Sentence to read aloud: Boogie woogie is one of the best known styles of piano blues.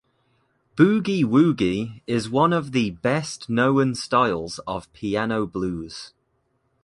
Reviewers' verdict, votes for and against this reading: accepted, 2, 0